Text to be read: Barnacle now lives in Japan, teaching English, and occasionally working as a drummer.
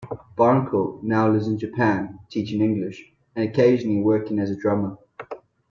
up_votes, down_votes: 0, 2